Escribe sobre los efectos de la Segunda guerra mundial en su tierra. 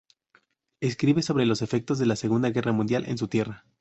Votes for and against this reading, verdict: 2, 0, accepted